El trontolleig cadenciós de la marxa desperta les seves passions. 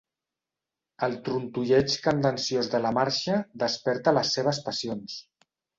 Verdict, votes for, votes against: rejected, 1, 2